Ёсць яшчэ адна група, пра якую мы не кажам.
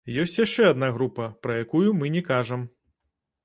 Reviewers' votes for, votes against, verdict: 2, 0, accepted